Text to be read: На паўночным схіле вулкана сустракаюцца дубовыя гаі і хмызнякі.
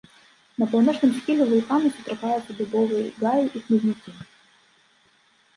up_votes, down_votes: 2, 0